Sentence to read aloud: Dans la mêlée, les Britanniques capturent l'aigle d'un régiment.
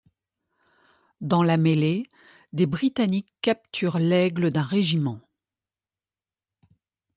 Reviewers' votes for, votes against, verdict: 1, 2, rejected